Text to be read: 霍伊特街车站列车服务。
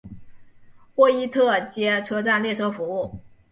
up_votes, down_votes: 2, 0